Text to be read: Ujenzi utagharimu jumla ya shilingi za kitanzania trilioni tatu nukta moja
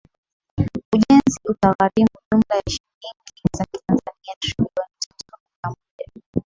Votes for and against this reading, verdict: 10, 3, accepted